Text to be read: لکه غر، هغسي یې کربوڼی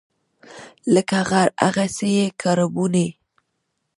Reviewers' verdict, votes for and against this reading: rejected, 0, 2